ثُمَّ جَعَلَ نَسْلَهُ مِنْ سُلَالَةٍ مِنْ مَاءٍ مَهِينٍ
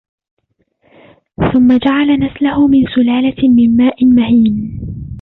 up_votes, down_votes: 0, 2